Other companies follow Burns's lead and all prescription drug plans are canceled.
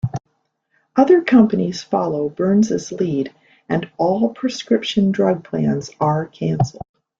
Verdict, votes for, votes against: rejected, 0, 2